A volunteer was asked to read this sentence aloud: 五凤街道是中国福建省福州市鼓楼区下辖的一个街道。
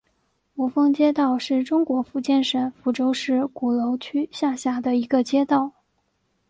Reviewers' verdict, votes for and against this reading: accepted, 3, 0